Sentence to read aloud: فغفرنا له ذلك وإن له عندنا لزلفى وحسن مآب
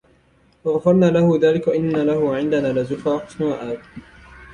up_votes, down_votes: 2, 0